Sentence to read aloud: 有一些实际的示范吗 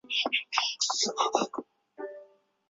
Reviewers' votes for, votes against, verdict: 1, 3, rejected